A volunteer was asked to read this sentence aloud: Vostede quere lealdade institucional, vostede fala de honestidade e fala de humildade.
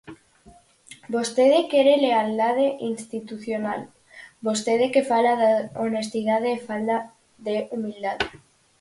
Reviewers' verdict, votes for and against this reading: rejected, 2, 4